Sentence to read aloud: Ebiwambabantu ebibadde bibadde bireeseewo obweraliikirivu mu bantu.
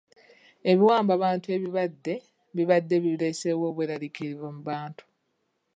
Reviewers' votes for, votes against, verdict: 0, 2, rejected